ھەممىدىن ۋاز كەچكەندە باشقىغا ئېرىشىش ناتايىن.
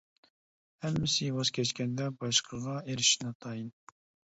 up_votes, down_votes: 0, 2